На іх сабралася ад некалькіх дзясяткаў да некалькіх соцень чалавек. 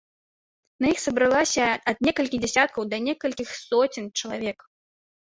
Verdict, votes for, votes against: rejected, 1, 2